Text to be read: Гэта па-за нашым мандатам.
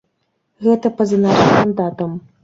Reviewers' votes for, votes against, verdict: 0, 2, rejected